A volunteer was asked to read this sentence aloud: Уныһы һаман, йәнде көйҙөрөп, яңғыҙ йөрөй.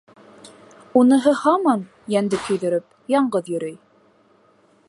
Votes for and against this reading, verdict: 3, 0, accepted